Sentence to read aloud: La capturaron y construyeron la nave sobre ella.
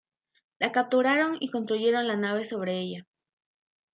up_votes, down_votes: 2, 1